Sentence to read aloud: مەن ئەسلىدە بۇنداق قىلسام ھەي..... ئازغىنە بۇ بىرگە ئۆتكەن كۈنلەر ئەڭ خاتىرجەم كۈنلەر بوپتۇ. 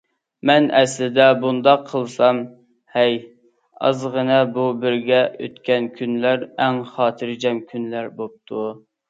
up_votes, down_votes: 2, 0